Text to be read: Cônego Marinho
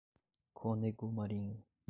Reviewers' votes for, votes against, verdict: 1, 2, rejected